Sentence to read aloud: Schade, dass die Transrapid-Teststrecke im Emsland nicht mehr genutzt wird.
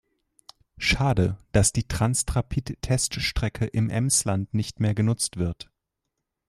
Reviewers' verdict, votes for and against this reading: rejected, 2, 3